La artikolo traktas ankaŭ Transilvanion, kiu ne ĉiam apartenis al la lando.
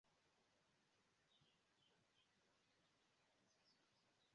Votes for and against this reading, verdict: 0, 2, rejected